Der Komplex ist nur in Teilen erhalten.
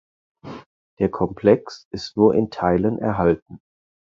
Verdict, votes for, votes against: accepted, 4, 0